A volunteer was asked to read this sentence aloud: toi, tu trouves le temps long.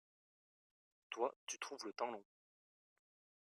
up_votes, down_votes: 2, 0